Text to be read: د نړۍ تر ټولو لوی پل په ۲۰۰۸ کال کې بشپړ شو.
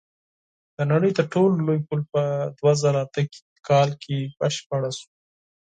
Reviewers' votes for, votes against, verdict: 0, 2, rejected